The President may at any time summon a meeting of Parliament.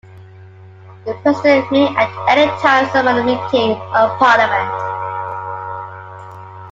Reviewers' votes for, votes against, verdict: 1, 2, rejected